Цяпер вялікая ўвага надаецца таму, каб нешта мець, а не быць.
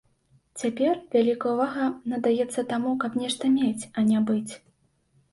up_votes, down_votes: 2, 0